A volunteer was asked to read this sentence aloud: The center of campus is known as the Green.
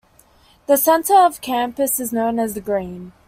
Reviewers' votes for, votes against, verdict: 2, 1, accepted